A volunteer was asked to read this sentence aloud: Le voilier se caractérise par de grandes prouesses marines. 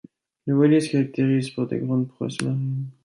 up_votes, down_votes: 0, 2